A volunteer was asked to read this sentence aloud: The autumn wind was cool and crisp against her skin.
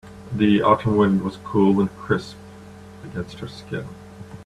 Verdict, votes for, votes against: rejected, 0, 3